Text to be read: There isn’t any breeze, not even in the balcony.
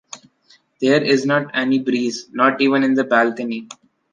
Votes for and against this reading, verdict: 0, 2, rejected